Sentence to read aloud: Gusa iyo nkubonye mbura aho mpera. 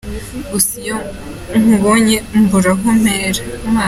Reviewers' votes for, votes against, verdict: 2, 0, accepted